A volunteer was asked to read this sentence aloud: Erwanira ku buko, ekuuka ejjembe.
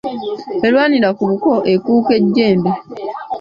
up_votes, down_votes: 2, 0